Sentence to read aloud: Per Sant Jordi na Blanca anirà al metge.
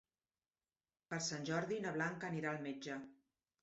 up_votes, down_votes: 3, 0